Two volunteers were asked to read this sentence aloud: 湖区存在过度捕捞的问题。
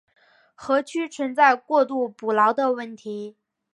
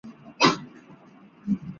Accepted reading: first